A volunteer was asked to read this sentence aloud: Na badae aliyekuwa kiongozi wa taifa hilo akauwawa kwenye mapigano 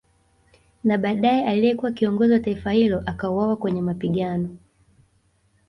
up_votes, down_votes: 2, 1